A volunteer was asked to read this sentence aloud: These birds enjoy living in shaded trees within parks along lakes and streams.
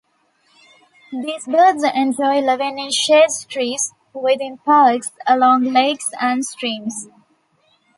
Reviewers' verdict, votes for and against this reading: rejected, 0, 2